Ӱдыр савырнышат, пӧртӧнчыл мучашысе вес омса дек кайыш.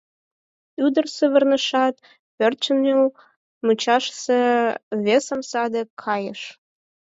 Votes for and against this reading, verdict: 0, 6, rejected